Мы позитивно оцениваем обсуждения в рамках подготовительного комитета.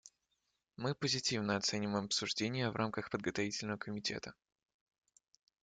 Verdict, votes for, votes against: accepted, 2, 0